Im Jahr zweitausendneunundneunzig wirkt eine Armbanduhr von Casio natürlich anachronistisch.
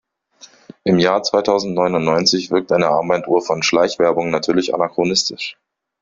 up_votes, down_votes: 0, 2